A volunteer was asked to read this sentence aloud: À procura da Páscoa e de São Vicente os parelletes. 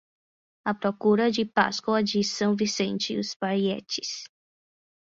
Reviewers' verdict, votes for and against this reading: rejected, 0, 10